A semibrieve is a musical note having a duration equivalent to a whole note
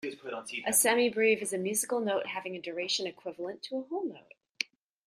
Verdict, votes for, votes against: accepted, 2, 1